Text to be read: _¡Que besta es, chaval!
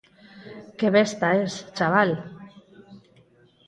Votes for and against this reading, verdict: 4, 0, accepted